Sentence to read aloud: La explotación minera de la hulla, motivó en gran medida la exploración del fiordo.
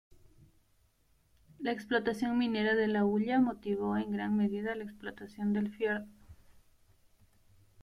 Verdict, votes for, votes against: rejected, 1, 2